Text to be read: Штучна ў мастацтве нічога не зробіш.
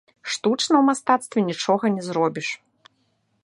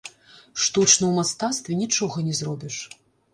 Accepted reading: first